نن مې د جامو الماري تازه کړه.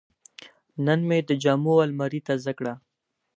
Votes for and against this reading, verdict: 4, 0, accepted